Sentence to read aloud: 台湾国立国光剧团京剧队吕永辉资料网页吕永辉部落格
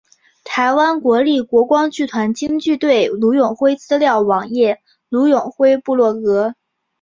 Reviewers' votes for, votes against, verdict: 5, 0, accepted